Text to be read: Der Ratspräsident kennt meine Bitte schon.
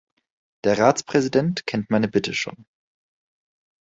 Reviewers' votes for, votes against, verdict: 2, 0, accepted